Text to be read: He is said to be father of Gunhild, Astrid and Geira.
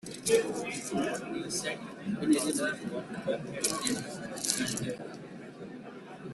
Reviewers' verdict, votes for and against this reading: rejected, 0, 2